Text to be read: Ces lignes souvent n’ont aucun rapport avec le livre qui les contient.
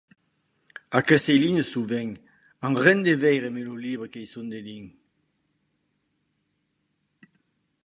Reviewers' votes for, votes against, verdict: 1, 2, rejected